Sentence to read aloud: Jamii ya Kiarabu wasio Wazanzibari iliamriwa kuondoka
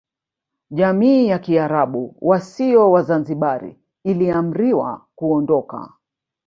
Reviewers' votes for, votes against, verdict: 2, 1, accepted